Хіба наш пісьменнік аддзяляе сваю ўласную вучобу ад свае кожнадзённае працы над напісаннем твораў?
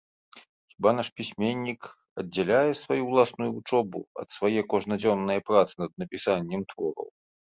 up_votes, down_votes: 2, 0